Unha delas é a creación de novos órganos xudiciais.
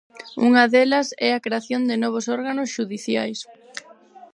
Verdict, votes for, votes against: rejected, 2, 4